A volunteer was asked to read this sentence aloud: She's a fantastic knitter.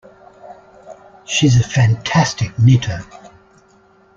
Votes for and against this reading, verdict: 2, 0, accepted